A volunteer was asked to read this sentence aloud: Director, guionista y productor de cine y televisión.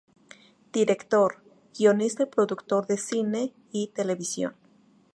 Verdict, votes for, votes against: rejected, 0, 2